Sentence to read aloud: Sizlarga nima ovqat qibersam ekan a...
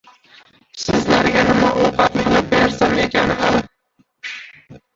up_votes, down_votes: 0, 2